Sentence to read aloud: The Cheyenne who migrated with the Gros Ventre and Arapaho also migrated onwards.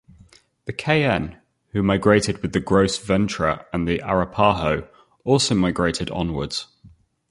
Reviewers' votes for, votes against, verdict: 0, 2, rejected